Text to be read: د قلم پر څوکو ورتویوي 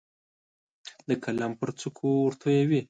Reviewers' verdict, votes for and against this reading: accepted, 2, 0